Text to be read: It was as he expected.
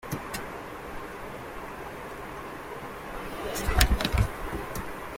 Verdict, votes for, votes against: rejected, 0, 2